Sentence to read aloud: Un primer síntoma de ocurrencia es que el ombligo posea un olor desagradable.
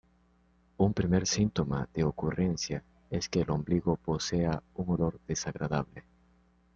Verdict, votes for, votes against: accepted, 2, 0